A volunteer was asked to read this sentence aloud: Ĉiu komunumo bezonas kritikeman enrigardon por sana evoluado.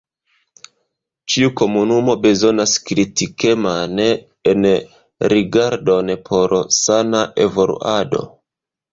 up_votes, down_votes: 0, 2